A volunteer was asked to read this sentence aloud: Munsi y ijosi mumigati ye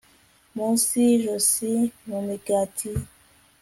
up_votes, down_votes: 2, 0